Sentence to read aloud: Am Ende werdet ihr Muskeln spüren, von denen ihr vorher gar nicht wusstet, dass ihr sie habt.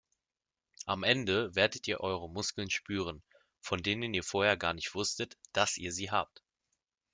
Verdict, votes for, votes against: accepted, 2, 0